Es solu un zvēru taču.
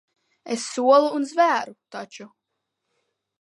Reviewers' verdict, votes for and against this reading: accepted, 2, 0